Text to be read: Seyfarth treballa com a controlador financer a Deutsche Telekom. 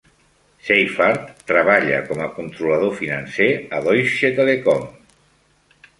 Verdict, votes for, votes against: accepted, 2, 0